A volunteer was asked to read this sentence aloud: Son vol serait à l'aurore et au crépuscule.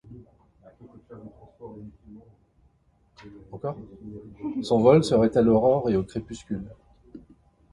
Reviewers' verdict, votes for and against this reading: rejected, 0, 2